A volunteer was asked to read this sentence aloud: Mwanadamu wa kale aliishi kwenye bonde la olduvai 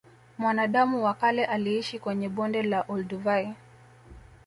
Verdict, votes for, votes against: accepted, 2, 0